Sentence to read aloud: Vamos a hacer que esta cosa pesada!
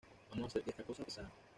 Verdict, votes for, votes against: rejected, 1, 2